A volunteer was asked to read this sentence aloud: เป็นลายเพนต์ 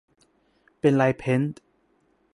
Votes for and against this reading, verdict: 1, 2, rejected